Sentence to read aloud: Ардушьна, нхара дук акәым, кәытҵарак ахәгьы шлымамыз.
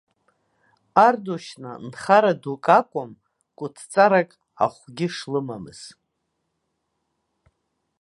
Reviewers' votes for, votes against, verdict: 1, 2, rejected